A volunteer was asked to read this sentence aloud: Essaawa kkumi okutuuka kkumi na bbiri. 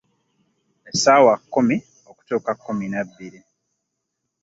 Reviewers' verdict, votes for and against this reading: accepted, 2, 0